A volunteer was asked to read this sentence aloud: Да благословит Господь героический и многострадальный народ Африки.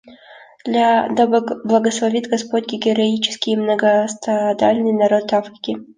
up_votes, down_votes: 0, 2